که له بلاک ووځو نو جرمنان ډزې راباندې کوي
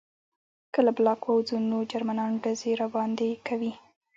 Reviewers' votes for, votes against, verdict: 1, 2, rejected